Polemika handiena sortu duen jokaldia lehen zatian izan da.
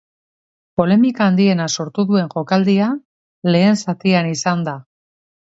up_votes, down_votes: 2, 0